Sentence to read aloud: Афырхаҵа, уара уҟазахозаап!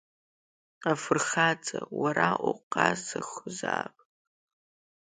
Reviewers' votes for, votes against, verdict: 2, 0, accepted